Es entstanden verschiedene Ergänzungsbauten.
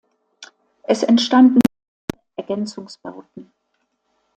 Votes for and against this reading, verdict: 0, 2, rejected